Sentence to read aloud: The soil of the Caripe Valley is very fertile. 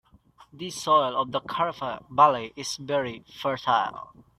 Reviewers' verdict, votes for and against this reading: accepted, 2, 1